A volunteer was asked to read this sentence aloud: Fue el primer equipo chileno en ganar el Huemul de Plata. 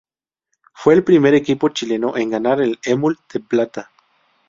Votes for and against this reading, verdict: 2, 2, rejected